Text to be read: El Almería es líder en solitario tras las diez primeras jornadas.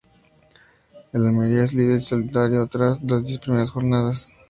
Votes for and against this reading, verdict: 0, 2, rejected